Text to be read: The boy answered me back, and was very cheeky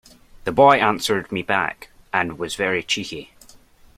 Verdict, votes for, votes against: accepted, 2, 0